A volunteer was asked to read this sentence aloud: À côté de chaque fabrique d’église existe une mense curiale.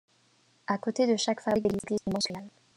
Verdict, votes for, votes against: rejected, 0, 2